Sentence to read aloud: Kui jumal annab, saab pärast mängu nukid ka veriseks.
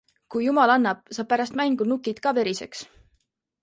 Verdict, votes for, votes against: accepted, 2, 0